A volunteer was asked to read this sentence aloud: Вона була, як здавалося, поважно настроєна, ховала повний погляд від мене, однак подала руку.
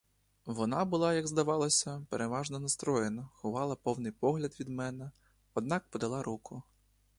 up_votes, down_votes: 0, 2